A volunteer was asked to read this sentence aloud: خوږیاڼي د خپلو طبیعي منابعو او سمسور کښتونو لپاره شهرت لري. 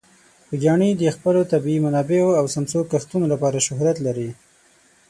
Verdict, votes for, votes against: accepted, 6, 0